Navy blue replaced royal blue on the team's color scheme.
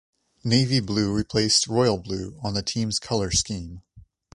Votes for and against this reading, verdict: 2, 0, accepted